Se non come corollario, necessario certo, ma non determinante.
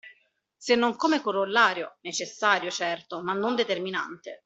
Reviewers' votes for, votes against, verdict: 2, 0, accepted